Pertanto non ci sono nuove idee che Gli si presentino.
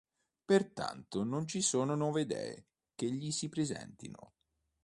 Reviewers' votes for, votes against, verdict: 2, 0, accepted